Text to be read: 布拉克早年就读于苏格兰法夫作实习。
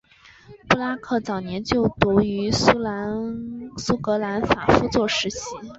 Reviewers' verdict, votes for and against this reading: rejected, 2, 3